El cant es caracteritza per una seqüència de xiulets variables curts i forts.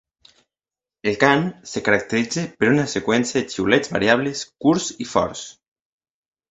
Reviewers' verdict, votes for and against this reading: rejected, 1, 2